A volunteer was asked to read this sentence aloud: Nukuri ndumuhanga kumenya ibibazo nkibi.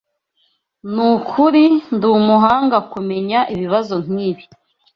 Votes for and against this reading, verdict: 2, 0, accepted